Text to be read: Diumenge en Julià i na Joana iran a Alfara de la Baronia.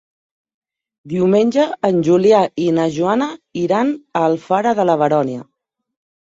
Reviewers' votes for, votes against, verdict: 0, 2, rejected